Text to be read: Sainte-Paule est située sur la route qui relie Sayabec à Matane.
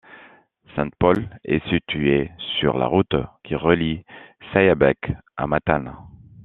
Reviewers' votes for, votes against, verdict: 2, 0, accepted